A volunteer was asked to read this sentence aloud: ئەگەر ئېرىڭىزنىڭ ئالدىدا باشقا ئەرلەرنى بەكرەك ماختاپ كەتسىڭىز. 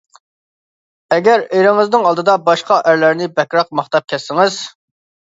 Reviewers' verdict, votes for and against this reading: accepted, 2, 0